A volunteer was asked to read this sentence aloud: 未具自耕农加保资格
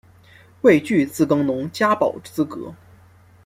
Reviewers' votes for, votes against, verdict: 2, 1, accepted